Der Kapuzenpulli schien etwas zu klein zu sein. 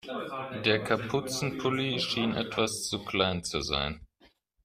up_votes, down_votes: 0, 2